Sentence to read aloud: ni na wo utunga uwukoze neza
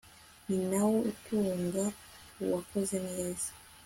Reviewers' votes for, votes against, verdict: 2, 0, accepted